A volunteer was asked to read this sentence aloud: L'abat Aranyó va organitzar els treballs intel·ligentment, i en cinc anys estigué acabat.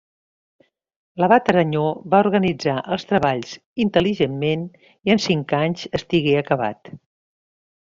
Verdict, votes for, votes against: accepted, 2, 0